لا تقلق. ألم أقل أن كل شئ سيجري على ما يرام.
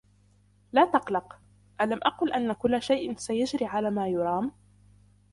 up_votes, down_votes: 2, 0